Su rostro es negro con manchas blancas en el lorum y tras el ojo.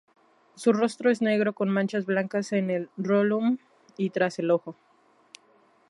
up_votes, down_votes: 0, 2